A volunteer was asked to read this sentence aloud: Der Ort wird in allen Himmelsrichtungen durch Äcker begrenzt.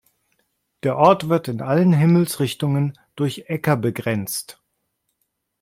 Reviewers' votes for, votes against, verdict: 2, 0, accepted